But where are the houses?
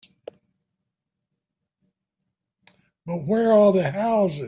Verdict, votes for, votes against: rejected, 3, 4